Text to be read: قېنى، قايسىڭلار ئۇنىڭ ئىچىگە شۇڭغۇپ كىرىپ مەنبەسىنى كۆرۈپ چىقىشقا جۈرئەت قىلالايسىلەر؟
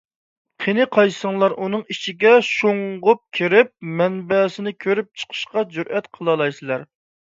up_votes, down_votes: 2, 0